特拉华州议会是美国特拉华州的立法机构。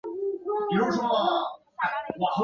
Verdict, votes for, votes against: rejected, 0, 2